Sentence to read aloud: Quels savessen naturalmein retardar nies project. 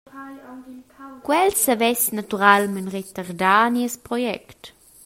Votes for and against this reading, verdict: 0, 2, rejected